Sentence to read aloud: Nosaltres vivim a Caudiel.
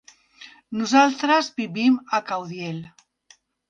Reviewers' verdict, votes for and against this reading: accepted, 3, 0